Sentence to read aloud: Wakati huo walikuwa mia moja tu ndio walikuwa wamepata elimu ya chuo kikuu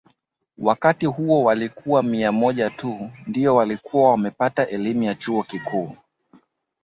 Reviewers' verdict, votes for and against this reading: accepted, 3, 0